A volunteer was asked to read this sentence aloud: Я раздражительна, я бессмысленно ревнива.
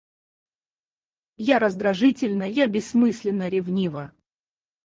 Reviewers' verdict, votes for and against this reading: rejected, 0, 4